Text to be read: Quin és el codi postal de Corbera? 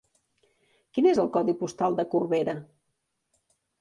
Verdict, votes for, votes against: accepted, 3, 0